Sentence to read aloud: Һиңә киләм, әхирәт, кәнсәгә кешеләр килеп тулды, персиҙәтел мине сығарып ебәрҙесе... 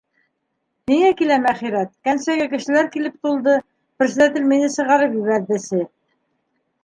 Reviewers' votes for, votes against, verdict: 3, 1, accepted